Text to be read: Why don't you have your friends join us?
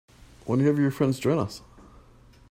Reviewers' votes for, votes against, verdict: 0, 2, rejected